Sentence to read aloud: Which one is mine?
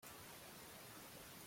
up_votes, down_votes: 1, 2